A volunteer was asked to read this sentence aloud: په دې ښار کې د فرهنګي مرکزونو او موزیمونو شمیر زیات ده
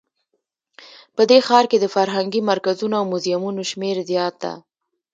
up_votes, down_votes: 2, 1